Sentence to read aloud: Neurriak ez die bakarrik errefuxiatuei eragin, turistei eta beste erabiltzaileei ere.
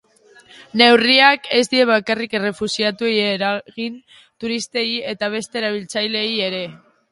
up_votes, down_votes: 4, 2